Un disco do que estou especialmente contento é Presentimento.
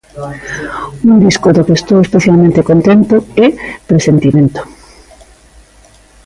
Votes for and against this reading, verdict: 1, 2, rejected